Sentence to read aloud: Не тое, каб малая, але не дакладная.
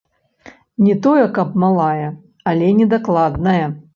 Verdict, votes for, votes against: rejected, 1, 2